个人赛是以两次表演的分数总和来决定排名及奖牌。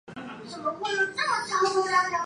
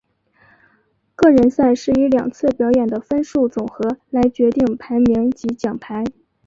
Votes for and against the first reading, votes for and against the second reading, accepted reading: 1, 2, 2, 1, second